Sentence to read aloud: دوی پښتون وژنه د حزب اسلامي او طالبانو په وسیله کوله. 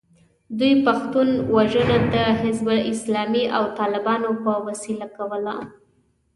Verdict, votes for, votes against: accepted, 2, 0